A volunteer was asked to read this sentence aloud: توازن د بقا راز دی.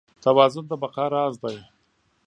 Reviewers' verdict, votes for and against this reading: accepted, 6, 0